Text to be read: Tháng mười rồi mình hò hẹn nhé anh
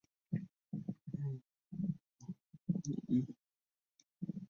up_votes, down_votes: 0, 2